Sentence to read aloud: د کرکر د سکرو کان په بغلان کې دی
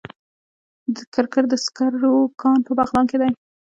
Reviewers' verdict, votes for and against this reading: rejected, 1, 2